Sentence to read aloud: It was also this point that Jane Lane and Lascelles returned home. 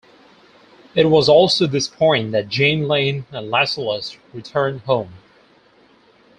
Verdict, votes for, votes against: rejected, 0, 2